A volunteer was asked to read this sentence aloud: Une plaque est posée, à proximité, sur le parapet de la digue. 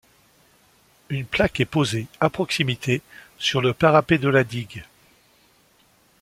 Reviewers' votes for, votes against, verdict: 2, 0, accepted